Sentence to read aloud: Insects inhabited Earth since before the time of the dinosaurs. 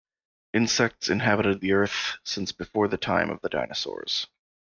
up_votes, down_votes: 0, 2